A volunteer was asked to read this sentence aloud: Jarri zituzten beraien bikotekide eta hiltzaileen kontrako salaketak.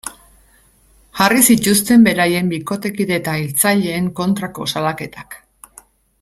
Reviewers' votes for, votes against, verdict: 2, 0, accepted